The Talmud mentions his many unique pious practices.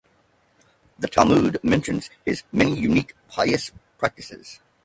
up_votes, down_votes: 0, 2